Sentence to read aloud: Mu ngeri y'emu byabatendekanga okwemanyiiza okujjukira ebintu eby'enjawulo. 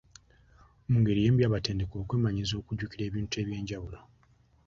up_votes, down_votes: 1, 2